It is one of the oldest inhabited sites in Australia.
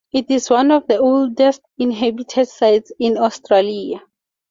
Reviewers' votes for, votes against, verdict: 2, 0, accepted